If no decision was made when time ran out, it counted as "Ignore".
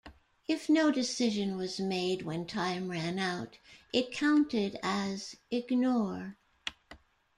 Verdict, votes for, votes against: accepted, 2, 0